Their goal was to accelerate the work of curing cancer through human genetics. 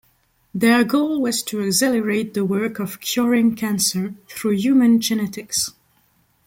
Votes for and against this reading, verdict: 0, 2, rejected